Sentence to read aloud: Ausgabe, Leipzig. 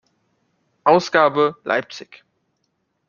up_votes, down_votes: 2, 0